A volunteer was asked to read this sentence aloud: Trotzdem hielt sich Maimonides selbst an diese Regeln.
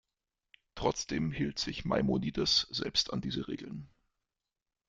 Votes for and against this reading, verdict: 2, 0, accepted